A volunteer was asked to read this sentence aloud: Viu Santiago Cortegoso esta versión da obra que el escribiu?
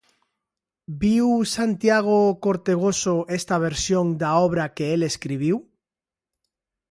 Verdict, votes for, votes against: accepted, 2, 1